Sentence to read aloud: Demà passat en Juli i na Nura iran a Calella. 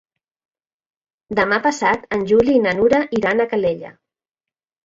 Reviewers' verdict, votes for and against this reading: accepted, 2, 0